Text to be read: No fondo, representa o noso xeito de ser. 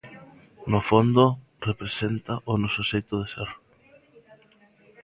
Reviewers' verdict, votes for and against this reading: accepted, 2, 0